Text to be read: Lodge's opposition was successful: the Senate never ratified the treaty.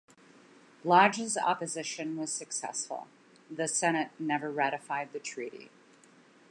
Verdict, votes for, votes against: accepted, 3, 0